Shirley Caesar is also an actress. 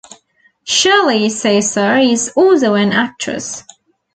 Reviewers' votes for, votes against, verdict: 2, 0, accepted